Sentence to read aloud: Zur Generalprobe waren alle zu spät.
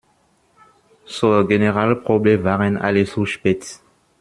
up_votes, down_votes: 1, 2